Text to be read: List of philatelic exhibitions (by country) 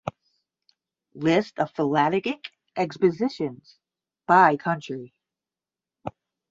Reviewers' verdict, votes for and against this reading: rejected, 5, 5